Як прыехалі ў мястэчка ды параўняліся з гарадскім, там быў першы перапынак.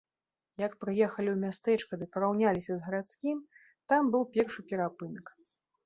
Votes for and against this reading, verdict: 3, 0, accepted